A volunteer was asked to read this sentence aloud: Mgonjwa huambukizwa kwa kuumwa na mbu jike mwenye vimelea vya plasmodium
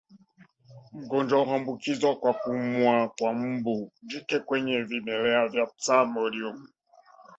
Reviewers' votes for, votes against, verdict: 0, 2, rejected